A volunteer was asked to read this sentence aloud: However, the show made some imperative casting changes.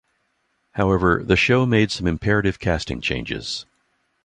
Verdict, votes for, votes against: accepted, 2, 0